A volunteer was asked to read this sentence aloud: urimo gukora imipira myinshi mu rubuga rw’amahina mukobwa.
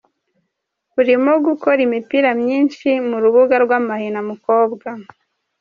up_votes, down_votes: 2, 0